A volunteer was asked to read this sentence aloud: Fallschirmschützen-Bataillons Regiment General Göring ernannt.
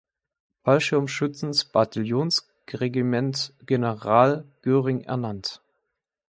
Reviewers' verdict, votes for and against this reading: rejected, 1, 2